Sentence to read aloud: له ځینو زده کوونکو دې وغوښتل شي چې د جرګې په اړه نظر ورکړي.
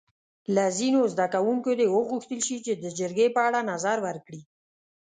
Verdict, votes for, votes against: accepted, 2, 0